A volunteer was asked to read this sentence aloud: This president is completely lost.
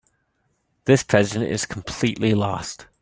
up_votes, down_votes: 2, 0